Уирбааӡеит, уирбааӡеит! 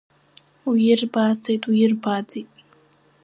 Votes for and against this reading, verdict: 2, 1, accepted